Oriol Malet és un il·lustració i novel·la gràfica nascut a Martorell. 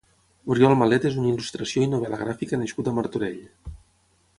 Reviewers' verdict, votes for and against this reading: rejected, 3, 6